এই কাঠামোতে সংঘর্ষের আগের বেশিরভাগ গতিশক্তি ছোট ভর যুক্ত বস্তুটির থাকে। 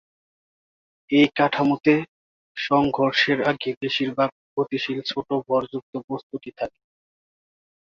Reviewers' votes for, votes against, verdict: 0, 5, rejected